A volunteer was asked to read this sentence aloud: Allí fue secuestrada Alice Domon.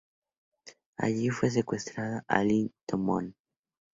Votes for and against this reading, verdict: 0, 2, rejected